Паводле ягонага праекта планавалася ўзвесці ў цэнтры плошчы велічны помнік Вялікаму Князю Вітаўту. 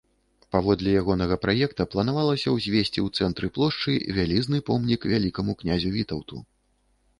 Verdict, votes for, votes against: rejected, 0, 2